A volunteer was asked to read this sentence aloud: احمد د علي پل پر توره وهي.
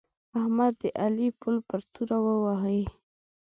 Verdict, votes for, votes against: accepted, 2, 0